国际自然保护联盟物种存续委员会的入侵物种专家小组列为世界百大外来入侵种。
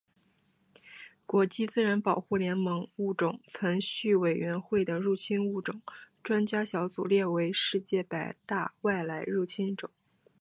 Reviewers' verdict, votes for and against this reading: accepted, 3, 1